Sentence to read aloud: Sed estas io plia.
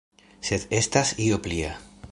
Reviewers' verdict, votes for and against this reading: accepted, 2, 0